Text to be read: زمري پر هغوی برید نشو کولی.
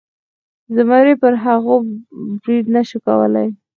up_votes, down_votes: 2, 4